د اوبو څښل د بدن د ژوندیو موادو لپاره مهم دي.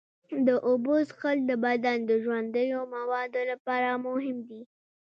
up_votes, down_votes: 0, 2